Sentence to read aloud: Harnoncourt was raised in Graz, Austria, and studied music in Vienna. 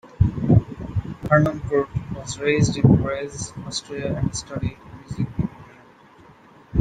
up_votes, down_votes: 0, 2